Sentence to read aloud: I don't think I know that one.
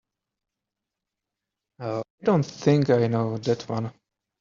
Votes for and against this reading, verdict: 0, 3, rejected